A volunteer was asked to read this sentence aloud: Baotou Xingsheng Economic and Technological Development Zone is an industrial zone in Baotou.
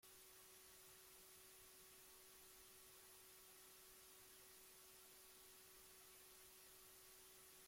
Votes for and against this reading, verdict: 0, 2, rejected